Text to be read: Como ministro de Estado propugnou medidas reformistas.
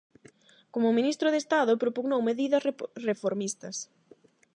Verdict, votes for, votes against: rejected, 4, 8